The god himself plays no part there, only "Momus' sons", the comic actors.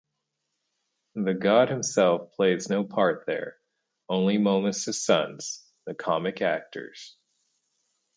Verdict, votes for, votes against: accepted, 4, 0